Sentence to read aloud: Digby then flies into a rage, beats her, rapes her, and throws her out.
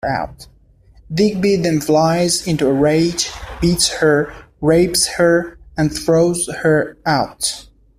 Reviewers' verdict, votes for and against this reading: rejected, 1, 2